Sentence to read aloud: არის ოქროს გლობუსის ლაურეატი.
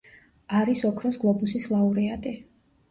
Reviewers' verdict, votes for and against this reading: rejected, 1, 2